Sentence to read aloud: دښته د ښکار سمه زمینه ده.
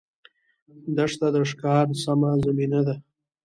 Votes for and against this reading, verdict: 0, 2, rejected